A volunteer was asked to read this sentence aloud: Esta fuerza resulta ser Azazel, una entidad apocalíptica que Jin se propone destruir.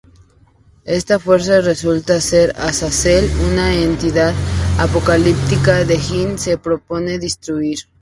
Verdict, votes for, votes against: rejected, 0, 4